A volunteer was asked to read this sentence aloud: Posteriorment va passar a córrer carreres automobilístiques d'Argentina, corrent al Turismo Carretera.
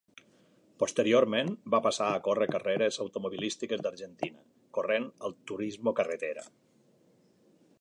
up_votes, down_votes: 2, 1